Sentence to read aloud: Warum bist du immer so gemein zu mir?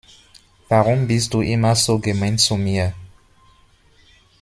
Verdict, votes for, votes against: accepted, 2, 0